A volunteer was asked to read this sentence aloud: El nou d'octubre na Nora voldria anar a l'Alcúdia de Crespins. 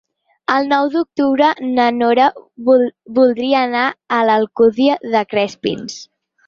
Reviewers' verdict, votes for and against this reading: rejected, 0, 4